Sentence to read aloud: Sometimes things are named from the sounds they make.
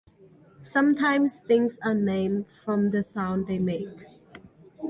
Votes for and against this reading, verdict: 2, 0, accepted